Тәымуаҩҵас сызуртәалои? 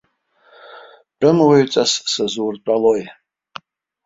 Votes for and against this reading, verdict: 1, 2, rejected